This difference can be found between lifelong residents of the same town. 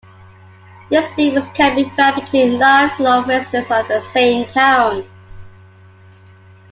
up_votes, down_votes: 1, 2